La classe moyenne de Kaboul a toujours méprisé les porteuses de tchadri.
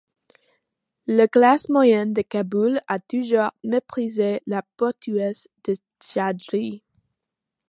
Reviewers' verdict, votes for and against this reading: rejected, 0, 2